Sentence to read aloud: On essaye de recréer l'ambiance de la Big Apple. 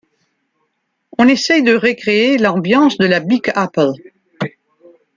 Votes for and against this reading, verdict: 2, 0, accepted